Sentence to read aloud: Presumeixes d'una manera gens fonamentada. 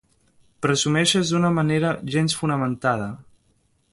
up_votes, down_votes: 2, 0